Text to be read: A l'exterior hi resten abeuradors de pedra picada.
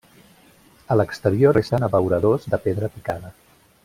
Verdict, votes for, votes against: rejected, 0, 2